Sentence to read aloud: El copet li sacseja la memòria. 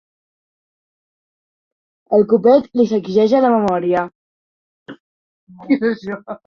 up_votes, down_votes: 1, 3